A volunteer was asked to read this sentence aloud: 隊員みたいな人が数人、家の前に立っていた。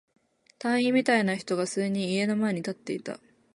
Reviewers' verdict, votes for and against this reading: accepted, 5, 0